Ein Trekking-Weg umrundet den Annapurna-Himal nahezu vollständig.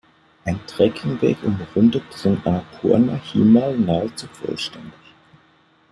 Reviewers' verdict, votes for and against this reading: rejected, 1, 2